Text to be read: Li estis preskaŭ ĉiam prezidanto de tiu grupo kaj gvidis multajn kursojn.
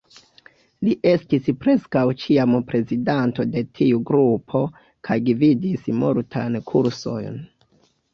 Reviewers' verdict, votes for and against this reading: accepted, 2, 1